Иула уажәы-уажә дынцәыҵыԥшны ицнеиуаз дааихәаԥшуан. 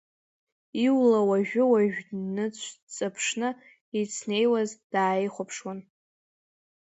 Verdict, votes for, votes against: rejected, 1, 2